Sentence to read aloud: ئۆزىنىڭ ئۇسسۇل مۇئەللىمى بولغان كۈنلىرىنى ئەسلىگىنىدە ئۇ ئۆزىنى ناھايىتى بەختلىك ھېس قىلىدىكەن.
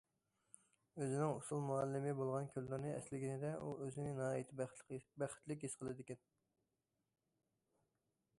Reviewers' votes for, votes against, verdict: 2, 0, accepted